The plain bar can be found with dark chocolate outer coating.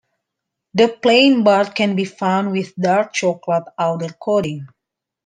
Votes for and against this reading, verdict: 2, 1, accepted